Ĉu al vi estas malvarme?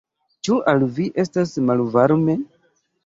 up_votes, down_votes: 2, 1